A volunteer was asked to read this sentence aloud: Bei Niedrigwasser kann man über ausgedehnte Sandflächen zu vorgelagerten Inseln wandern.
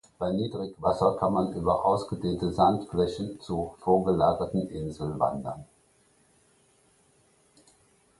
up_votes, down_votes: 2, 0